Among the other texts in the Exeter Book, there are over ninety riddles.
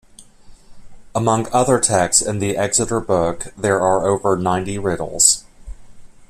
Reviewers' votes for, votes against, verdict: 2, 1, accepted